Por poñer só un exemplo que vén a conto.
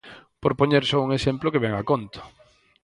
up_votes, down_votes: 4, 0